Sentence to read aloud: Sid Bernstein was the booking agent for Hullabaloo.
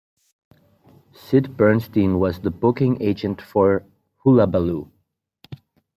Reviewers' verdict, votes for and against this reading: accepted, 2, 0